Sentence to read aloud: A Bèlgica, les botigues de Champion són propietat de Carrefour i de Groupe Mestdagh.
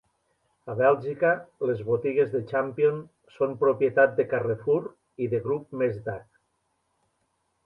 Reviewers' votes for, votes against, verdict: 2, 0, accepted